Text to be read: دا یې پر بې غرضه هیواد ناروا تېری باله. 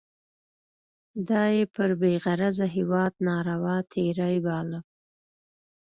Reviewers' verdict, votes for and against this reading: accepted, 2, 0